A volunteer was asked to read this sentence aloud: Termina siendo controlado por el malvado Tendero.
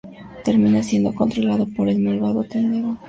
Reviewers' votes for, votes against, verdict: 0, 4, rejected